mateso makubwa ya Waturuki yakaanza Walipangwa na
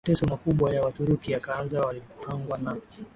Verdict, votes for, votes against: accepted, 2, 0